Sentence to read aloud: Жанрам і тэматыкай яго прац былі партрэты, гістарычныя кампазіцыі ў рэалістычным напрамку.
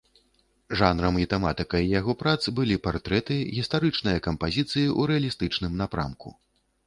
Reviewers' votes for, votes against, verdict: 0, 2, rejected